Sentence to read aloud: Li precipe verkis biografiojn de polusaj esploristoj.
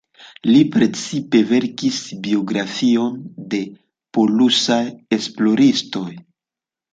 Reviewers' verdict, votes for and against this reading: rejected, 0, 2